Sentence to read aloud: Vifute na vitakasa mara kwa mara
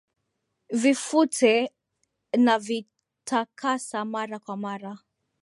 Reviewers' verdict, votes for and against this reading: rejected, 0, 2